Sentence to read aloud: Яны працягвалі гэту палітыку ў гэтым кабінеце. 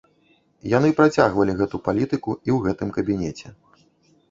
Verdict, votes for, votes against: rejected, 0, 2